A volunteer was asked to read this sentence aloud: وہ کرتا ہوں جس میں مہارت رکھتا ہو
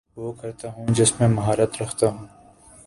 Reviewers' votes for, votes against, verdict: 3, 0, accepted